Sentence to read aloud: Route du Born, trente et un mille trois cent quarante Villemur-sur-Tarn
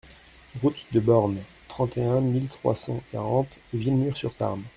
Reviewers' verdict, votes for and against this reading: rejected, 1, 2